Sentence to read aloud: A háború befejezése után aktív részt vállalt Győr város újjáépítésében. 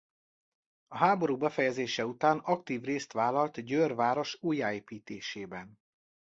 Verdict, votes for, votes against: rejected, 0, 2